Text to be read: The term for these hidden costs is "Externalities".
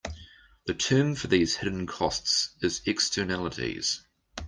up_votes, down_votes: 2, 0